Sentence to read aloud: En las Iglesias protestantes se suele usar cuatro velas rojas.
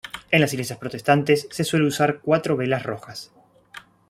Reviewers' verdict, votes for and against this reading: rejected, 0, 2